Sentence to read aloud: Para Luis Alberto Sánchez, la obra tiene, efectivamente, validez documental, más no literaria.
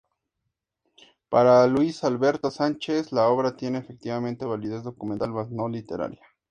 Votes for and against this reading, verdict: 2, 0, accepted